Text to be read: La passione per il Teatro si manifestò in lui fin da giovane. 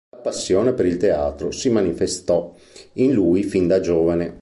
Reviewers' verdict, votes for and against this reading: rejected, 0, 2